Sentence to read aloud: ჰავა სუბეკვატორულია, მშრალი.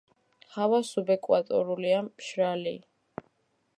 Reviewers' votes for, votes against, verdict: 2, 0, accepted